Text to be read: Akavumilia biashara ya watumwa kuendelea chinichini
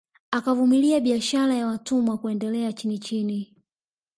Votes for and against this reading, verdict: 2, 1, accepted